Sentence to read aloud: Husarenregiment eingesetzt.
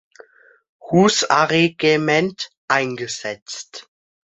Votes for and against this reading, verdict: 0, 2, rejected